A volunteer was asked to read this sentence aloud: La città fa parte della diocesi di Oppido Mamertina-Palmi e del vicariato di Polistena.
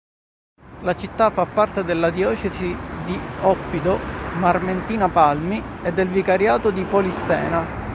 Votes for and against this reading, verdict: 1, 3, rejected